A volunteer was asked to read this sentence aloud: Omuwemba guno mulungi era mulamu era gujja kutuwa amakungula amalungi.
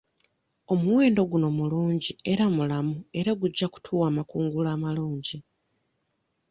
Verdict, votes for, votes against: rejected, 0, 2